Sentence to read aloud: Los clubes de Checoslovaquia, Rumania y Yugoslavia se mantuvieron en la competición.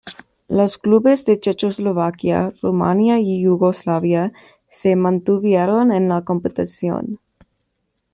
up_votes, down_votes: 2, 1